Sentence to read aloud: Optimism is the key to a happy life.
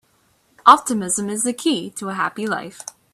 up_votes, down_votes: 2, 1